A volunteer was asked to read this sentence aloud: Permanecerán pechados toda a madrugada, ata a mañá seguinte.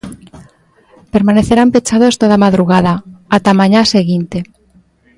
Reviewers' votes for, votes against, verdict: 2, 0, accepted